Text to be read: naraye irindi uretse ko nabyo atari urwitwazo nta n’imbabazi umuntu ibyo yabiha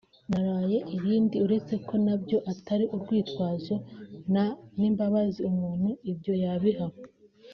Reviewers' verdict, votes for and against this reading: accepted, 2, 0